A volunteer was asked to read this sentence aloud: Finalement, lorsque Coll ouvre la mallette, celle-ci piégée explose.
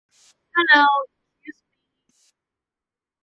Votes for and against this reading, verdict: 0, 2, rejected